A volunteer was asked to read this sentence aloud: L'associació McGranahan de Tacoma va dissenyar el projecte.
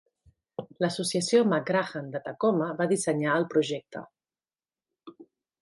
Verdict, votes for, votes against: accepted, 2, 0